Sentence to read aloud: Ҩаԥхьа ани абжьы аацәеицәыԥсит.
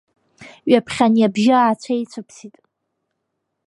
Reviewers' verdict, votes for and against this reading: accepted, 2, 0